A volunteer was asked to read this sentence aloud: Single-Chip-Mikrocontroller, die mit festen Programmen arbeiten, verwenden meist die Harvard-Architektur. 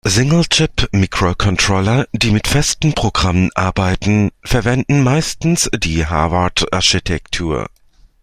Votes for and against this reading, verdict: 1, 2, rejected